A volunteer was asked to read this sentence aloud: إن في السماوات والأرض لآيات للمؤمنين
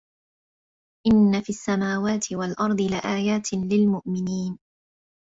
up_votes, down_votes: 0, 2